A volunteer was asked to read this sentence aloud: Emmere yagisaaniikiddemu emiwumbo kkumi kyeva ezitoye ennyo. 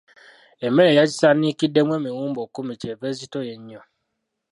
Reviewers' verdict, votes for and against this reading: rejected, 0, 2